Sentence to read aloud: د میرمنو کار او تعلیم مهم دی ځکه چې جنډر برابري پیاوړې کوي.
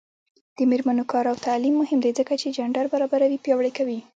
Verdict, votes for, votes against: rejected, 0, 2